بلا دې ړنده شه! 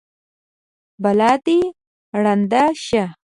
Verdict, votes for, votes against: accepted, 2, 0